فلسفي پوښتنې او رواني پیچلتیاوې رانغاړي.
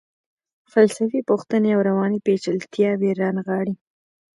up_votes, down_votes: 1, 2